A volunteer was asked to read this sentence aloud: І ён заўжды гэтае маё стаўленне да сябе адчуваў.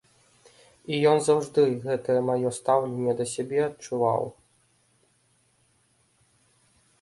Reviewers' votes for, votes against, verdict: 2, 0, accepted